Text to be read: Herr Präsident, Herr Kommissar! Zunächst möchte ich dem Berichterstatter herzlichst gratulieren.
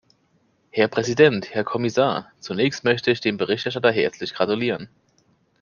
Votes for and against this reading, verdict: 1, 2, rejected